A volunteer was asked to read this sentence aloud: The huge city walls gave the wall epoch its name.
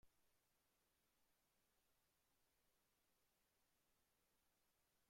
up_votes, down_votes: 0, 2